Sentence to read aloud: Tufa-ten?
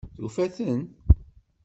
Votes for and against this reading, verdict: 2, 0, accepted